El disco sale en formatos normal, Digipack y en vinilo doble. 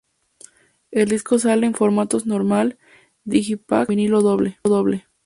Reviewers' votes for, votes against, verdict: 2, 0, accepted